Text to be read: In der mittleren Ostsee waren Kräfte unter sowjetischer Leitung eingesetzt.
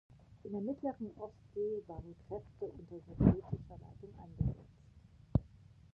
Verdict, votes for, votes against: rejected, 1, 2